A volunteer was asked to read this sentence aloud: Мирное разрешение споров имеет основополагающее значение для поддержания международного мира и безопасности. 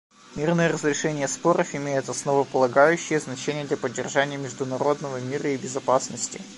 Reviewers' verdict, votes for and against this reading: rejected, 1, 2